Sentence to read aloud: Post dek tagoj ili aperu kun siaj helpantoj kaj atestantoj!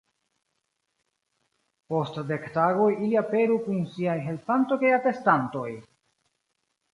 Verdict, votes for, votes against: accepted, 2, 1